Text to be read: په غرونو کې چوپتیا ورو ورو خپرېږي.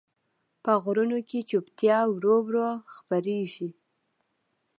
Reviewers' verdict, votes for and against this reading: rejected, 1, 2